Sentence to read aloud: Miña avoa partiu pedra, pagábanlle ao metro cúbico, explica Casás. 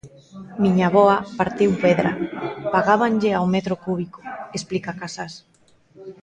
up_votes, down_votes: 0, 2